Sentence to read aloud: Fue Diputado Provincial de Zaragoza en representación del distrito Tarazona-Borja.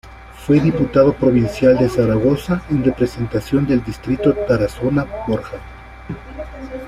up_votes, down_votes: 2, 0